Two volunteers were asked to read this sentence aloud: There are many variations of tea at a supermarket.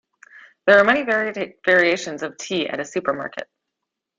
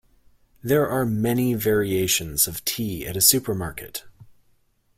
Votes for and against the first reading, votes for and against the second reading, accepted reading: 1, 2, 2, 0, second